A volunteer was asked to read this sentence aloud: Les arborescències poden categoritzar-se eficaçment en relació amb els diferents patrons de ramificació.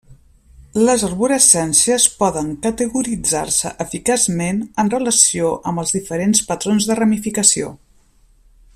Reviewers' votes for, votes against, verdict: 2, 0, accepted